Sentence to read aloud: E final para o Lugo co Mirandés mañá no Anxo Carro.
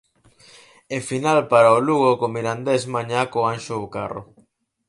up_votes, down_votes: 0, 4